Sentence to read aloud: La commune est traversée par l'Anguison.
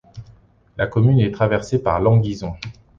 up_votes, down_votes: 2, 0